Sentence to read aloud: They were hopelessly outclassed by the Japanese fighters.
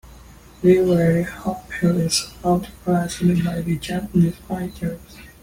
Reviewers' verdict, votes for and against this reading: rejected, 0, 2